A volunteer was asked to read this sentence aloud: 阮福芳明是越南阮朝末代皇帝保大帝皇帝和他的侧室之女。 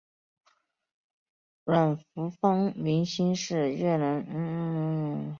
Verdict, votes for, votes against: rejected, 1, 3